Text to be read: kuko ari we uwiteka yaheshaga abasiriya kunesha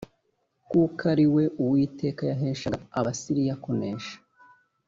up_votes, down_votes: 2, 0